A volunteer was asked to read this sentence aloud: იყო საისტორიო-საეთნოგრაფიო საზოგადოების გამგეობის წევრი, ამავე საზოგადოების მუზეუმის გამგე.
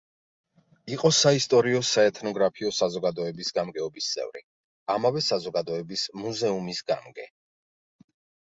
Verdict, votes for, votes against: accepted, 2, 0